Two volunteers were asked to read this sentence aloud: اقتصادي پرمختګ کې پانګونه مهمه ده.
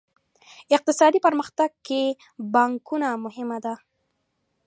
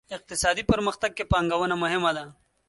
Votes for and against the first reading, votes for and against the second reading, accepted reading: 1, 2, 2, 0, second